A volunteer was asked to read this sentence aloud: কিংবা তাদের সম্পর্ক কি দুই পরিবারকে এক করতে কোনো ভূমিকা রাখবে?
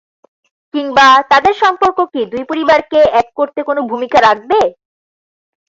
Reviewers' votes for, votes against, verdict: 4, 0, accepted